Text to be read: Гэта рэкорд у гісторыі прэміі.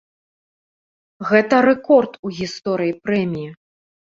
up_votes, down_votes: 2, 0